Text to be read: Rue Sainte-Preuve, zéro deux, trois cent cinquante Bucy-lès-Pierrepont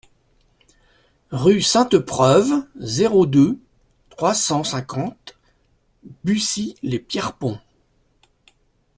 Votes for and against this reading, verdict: 2, 0, accepted